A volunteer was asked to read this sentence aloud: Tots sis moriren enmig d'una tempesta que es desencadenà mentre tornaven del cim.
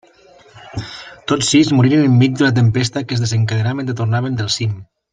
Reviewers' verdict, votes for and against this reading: rejected, 1, 2